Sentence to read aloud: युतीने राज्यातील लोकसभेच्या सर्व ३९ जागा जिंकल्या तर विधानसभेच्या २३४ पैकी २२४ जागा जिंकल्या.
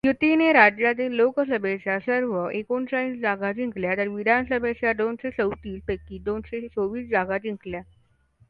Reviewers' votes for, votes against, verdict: 0, 2, rejected